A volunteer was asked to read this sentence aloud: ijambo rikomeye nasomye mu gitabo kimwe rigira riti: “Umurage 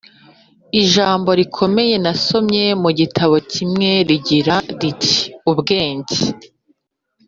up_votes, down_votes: 1, 2